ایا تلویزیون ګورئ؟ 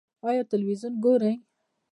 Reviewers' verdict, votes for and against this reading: accepted, 2, 0